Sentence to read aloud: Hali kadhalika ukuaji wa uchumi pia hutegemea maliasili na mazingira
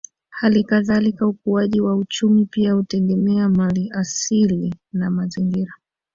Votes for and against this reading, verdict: 2, 0, accepted